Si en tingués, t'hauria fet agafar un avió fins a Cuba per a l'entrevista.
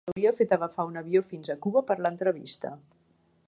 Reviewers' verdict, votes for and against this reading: rejected, 1, 2